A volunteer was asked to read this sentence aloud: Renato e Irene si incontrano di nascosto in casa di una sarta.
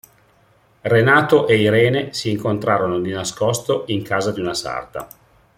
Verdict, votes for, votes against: rejected, 1, 2